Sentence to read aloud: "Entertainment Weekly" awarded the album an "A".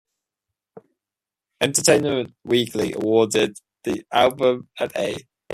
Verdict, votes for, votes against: accepted, 2, 0